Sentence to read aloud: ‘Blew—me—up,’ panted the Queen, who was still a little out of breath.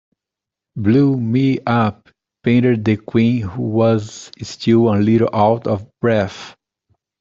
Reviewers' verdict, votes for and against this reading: rejected, 0, 2